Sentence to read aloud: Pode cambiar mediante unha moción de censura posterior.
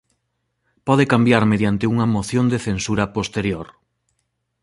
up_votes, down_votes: 2, 1